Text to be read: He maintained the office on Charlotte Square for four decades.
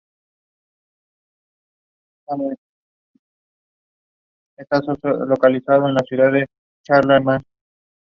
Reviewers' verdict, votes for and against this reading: rejected, 0, 2